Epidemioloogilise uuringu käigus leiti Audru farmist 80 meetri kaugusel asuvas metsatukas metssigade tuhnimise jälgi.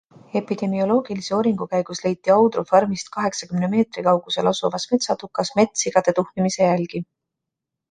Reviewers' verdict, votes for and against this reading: rejected, 0, 2